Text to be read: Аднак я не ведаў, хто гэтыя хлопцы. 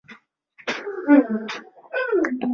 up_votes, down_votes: 0, 2